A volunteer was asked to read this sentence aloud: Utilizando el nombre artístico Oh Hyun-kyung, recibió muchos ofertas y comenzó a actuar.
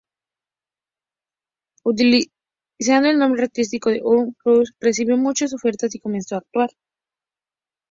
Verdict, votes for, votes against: rejected, 0, 2